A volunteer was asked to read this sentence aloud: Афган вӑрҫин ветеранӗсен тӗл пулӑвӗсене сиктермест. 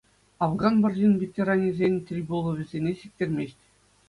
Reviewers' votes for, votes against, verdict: 2, 0, accepted